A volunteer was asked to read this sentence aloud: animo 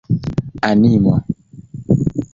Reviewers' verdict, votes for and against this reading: accepted, 2, 0